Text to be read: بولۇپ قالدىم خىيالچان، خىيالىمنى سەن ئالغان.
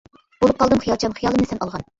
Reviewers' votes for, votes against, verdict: 0, 2, rejected